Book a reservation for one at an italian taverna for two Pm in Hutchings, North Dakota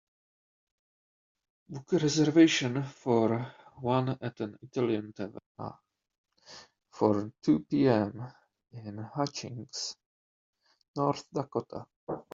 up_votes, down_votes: 2, 1